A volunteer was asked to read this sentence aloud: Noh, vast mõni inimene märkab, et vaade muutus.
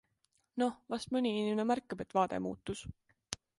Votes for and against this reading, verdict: 2, 0, accepted